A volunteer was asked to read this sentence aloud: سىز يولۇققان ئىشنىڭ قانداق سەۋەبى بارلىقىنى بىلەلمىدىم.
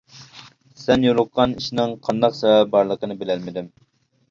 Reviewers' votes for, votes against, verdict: 0, 2, rejected